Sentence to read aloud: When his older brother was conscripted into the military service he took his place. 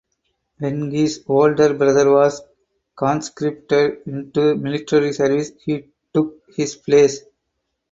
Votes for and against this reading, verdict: 4, 0, accepted